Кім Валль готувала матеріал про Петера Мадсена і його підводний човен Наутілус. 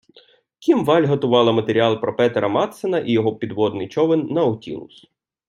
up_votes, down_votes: 2, 0